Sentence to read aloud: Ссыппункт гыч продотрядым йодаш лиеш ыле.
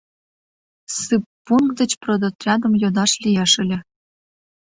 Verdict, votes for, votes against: rejected, 1, 2